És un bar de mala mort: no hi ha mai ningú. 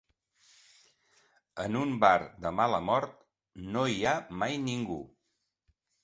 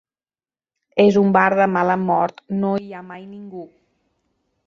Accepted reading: second